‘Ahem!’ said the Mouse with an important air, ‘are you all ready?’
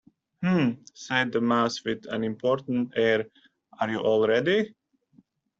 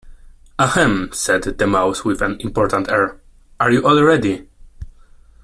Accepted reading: second